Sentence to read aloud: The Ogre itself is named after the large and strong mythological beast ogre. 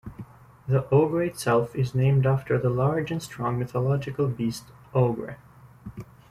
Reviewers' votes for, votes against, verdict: 0, 2, rejected